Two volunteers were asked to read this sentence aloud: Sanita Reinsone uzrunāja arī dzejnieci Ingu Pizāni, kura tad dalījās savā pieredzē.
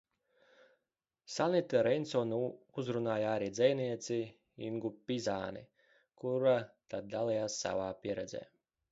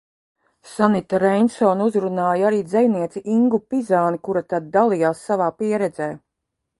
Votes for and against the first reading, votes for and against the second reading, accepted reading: 0, 2, 2, 1, second